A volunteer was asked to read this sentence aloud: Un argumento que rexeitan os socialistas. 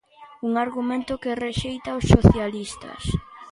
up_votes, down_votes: 2, 1